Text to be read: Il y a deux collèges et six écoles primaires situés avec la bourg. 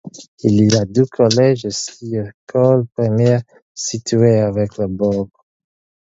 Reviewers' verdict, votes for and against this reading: rejected, 2, 4